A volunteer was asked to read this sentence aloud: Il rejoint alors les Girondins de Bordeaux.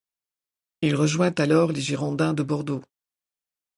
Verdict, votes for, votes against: accepted, 2, 0